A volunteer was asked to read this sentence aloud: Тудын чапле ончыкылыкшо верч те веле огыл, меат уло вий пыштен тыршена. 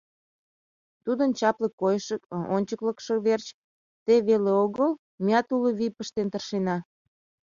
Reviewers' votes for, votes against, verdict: 0, 2, rejected